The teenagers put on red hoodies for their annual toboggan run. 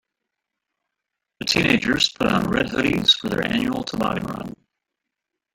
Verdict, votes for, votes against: rejected, 0, 2